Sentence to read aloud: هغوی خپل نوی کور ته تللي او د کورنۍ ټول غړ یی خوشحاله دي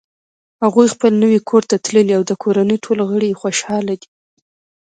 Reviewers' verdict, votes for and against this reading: rejected, 1, 2